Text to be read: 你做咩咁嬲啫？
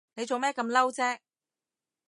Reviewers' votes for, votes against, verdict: 2, 0, accepted